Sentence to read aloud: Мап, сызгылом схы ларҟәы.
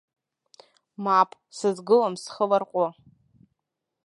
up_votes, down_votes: 2, 0